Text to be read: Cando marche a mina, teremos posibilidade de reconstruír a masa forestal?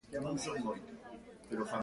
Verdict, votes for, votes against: rejected, 0, 2